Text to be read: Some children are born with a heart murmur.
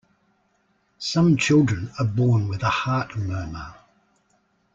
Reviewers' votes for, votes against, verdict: 2, 0, accepted